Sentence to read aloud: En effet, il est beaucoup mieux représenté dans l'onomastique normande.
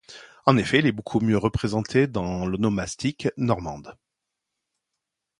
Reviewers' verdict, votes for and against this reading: accepted, 2, 0